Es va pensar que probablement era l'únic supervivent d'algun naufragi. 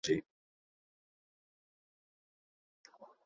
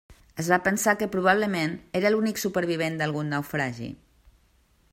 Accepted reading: second